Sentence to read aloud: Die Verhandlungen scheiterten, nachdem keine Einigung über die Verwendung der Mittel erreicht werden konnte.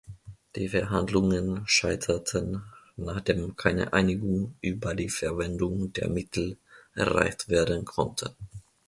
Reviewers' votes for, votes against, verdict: 2, 0, accepted